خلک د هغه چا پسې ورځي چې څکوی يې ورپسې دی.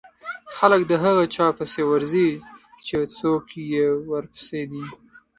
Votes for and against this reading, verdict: 0, 2, rejected